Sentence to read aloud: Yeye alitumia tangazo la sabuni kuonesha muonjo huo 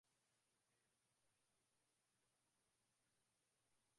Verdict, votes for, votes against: rejected, 0, 2